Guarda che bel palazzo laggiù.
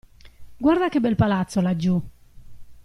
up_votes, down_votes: 2, 0